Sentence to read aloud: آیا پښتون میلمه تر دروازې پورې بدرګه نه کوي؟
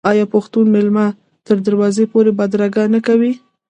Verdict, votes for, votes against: rejected, 1, 2